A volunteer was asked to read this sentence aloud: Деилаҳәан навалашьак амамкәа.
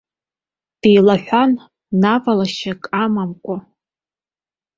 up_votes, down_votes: 2, 0